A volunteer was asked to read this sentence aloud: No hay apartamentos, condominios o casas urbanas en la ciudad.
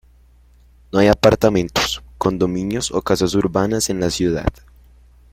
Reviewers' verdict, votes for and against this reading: accepted, 2, 0